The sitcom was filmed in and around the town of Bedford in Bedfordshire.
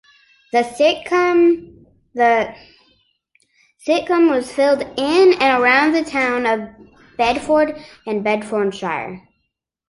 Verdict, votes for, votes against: rejected, 0, 3